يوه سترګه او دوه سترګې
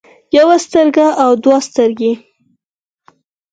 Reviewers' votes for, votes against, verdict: 4, 0, accepted